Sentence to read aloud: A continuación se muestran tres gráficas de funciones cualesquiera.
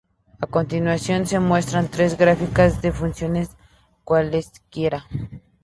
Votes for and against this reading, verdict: 2, 0, accepted